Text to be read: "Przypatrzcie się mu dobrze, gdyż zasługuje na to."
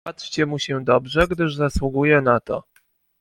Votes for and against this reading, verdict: 1, 2, rejected